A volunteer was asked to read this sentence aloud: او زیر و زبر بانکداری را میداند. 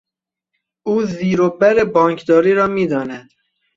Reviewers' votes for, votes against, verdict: 1, 3, rejected